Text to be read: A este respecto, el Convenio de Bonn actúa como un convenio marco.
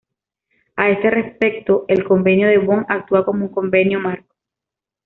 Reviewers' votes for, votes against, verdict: 1, 2, rejected